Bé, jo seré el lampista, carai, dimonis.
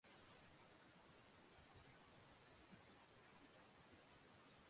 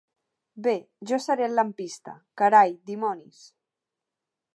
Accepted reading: second